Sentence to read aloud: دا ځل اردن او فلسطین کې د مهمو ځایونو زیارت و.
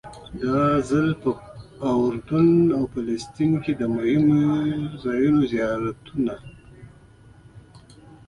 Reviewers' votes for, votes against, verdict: 0, 2, rejected